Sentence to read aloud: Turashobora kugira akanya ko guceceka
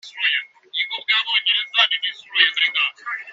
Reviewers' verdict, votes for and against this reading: rejected, 0, 3